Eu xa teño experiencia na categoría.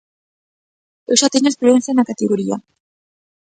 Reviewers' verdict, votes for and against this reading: accepted, 3, 1